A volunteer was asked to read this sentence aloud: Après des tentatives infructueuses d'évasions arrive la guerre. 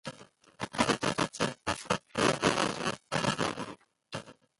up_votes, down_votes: 1, 2